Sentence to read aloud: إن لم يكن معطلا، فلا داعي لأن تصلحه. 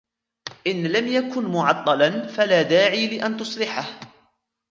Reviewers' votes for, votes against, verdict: 2, 0, accepted